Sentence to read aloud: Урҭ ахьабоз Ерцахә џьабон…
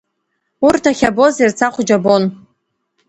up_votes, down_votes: 2, 0